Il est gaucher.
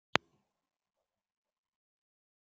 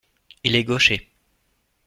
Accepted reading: second